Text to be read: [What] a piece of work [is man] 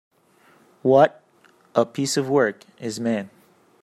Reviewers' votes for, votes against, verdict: 2, 1, accepted